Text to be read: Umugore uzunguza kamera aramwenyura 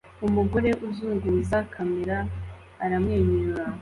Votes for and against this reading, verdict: 2, 0, accepted